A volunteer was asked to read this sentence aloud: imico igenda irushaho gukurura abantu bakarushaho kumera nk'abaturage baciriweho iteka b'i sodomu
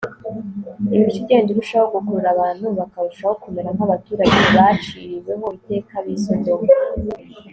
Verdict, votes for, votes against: accepted, 2, 0